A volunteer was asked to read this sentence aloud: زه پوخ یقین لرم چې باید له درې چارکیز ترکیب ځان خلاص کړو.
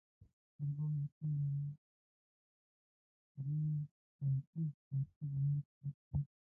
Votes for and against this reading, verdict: 0, 2, rejected